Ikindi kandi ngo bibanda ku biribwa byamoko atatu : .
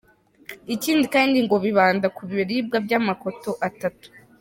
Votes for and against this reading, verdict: 0, 3, rejected